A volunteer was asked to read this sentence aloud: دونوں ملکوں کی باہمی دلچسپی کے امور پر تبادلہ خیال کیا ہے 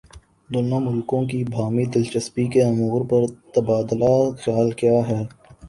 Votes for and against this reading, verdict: 3, 0, accepted